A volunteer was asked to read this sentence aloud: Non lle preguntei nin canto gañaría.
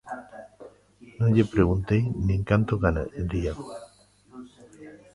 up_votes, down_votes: 0, 2